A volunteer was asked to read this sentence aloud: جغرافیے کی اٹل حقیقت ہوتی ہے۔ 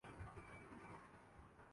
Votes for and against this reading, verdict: 0, 2, rejected